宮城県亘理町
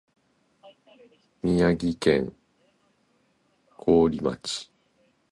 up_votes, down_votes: 2, 1